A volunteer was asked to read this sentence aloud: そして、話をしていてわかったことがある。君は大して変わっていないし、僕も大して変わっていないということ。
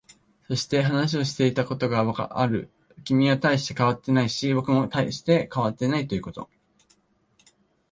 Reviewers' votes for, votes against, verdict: 1, 2, rejected